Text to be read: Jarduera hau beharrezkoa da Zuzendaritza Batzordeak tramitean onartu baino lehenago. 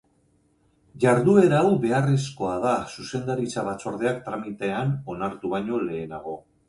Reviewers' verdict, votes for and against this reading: accepted, 2, 0